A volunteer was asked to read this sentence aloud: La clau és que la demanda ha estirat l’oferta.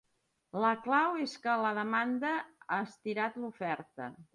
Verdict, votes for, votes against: accepted, 2, 0